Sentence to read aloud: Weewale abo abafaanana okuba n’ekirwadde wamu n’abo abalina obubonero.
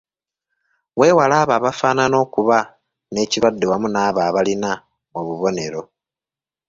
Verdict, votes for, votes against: accepted, 2, 0